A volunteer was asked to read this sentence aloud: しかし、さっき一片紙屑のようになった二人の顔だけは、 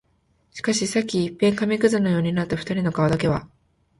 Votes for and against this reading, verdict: 2, 0, accepted